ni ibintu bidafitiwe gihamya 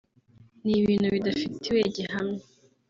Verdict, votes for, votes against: rejected, 1, 2